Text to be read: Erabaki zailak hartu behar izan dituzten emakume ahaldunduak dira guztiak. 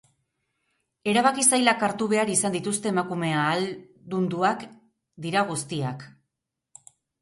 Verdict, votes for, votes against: rejected, 2, 2